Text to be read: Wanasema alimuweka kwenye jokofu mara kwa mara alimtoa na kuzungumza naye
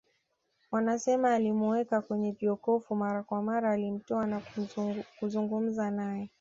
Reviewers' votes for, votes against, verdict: 1, 2, rejected